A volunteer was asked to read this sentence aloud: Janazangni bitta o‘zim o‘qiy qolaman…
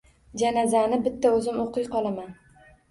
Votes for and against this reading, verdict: 1, 2, rejected